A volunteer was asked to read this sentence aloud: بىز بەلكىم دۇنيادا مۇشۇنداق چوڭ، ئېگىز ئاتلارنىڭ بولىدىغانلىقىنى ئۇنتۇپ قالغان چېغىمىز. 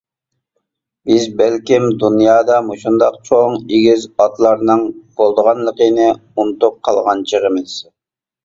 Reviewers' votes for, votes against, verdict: 2, 0, accepted